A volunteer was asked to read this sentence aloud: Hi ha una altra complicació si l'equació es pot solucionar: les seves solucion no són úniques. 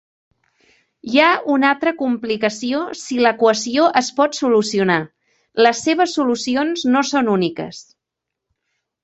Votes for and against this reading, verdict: 2, 0, accepted